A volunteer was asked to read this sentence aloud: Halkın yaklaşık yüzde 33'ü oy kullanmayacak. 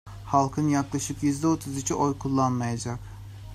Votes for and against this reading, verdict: 0, 2, rejected